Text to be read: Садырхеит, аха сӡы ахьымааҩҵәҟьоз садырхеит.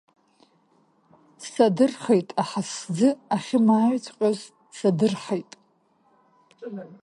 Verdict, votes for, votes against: rejected, 1, 2